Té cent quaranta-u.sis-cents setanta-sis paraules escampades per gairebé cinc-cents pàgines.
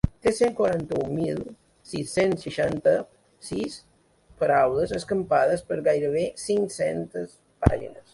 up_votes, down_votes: 0, 2